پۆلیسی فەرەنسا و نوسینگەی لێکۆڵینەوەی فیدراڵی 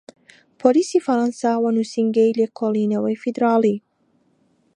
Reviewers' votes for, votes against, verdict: 2, 1, accepted